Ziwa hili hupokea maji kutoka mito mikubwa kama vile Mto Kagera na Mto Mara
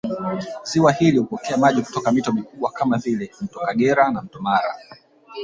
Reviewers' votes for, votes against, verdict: 1, 2, rejected